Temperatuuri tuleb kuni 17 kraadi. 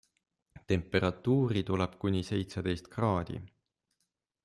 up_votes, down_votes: 0, 2